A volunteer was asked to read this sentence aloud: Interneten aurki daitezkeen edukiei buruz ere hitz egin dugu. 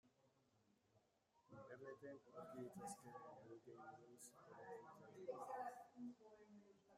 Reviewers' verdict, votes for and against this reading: rejected, 0, 2